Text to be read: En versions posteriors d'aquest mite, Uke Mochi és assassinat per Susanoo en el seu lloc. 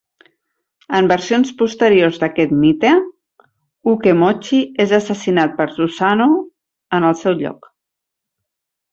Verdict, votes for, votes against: rejected, 0, 4